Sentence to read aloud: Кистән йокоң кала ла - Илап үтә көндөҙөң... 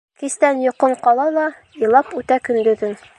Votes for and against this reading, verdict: 1, 2, rejected